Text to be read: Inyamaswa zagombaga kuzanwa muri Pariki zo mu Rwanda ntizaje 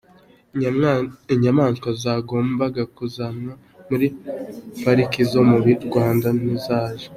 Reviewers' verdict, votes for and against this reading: rejected, 1, 2